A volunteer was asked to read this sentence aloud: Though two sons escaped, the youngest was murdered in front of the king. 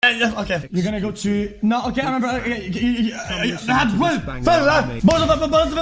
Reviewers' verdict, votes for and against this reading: rejected, 1, 2